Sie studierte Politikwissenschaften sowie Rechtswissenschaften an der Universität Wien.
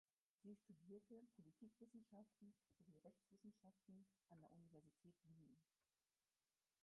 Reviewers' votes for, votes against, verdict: 0, 4, rejected